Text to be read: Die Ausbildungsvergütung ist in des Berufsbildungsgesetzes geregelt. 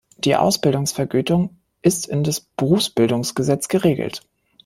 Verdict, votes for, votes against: rejected, 0, 2